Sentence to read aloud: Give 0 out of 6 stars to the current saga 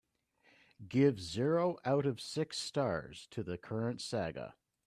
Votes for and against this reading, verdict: 0, 2, rejected